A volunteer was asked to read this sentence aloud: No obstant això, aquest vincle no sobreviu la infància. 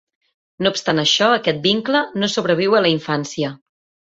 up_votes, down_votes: 0, 2